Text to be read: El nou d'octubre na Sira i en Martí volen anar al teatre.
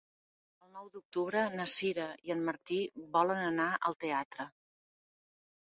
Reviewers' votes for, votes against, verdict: 2, 0, accepted